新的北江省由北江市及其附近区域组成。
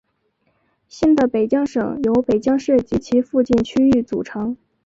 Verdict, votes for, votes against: accepted, 3, 0